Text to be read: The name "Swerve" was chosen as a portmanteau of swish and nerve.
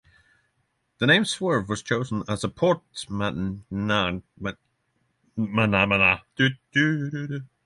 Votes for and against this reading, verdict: 0, 6, rejected